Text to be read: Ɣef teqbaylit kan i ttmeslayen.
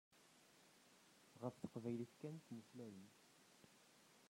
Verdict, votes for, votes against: rejected, 1, 2